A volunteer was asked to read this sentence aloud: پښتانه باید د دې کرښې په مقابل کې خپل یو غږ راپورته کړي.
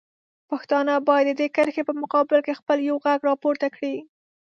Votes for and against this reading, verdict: 2, 0, accepted